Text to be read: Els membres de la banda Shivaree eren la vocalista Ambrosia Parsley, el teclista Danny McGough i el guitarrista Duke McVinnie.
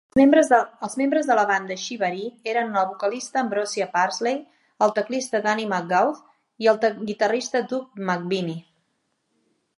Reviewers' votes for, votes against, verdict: 0, 3, rejected